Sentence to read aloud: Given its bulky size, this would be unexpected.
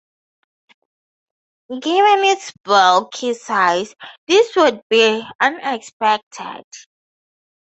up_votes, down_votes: 0, 4